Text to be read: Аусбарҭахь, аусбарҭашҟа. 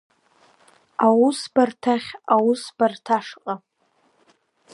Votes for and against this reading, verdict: 1, 2, rejected